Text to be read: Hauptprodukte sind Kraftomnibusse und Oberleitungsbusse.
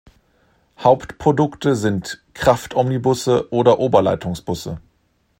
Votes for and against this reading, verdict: 1, 2, rejected